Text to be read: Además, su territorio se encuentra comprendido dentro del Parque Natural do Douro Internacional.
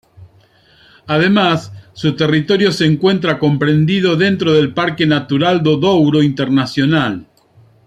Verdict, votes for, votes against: accepted, 2, 0